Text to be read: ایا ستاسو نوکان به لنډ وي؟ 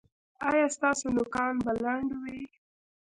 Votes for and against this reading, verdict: 1, 2, rejected